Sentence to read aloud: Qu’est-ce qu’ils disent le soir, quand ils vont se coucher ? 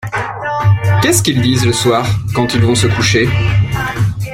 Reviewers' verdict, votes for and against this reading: accepted, 2, 1